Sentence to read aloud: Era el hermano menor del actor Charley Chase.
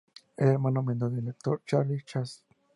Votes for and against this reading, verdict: 0, 2, rejected